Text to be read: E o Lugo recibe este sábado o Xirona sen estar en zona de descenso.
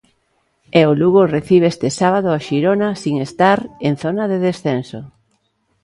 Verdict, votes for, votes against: rejected, 0, 2